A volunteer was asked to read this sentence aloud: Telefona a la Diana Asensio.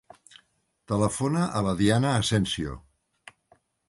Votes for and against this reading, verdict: 3, 0, accepted